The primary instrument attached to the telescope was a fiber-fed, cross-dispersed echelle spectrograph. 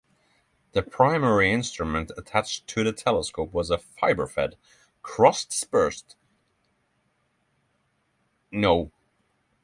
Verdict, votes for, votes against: rejected, 0, 6